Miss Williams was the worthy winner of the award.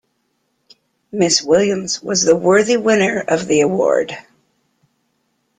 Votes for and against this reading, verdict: 3, 0, accepted